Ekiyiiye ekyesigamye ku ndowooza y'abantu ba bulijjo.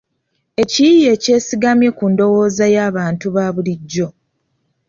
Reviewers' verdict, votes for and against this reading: accepted, 2, 0